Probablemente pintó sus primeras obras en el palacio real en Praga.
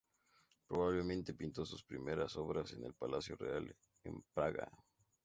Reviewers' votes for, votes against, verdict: 0, 2, rejected